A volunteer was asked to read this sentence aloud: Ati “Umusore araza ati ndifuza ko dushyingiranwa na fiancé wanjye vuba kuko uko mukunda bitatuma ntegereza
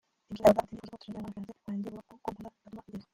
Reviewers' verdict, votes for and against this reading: rejected, 0, 2